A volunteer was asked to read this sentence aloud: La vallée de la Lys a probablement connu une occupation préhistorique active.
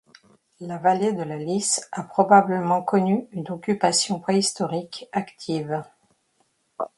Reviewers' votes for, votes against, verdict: 2, 0, accepted